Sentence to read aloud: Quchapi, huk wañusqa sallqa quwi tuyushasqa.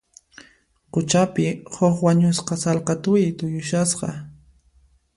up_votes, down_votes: 1, 2